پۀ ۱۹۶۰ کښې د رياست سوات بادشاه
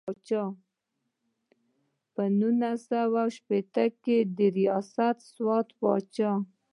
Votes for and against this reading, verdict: 0, 2, rejected